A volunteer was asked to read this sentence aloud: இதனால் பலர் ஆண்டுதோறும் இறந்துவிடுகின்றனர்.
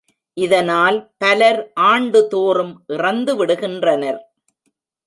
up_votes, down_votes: 2, 0